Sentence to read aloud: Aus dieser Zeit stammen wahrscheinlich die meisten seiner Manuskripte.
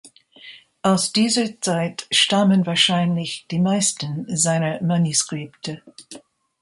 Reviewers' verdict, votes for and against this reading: rejected, 1, 2